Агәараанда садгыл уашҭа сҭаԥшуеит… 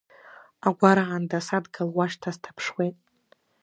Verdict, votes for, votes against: accepted, 2, 1